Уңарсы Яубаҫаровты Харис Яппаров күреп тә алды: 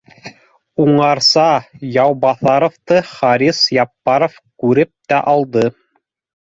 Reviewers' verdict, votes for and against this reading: accepted, 2, 1